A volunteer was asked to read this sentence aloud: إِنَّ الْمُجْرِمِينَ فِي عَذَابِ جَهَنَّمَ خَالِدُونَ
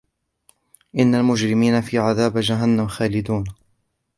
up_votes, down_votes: 2, 0